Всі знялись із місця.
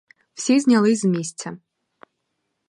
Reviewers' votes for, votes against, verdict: 2, 2, rejected